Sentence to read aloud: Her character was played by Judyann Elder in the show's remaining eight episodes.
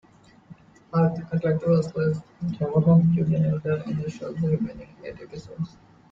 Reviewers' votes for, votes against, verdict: 0, 2, rejected